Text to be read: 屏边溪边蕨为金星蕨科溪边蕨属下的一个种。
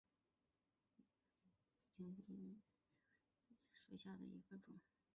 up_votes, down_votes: 3, 1